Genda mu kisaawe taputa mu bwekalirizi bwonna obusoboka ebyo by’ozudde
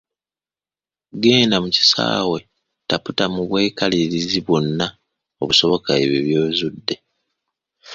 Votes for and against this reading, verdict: 2, 0, accepted